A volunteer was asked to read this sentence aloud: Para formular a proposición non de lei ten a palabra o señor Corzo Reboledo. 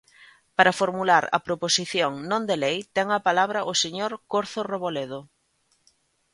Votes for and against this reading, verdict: 1, 2, rejected